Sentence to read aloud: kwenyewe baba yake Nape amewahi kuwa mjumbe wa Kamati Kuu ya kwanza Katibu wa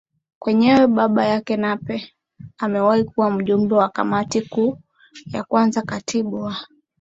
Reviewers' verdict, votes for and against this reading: accepted, 2, 0